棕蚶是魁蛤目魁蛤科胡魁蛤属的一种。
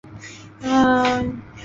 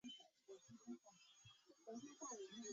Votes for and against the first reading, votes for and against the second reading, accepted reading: 2, 0, 0, 4, first